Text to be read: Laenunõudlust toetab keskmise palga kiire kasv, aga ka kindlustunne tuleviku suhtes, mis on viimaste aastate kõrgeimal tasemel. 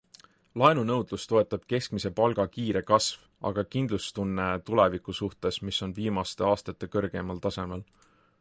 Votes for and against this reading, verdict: 3, 0, accepted